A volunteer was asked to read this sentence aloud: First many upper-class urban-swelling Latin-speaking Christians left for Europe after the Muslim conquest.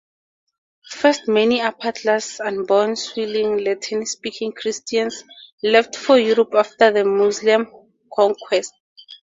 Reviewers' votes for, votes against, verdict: 0, 2, rejected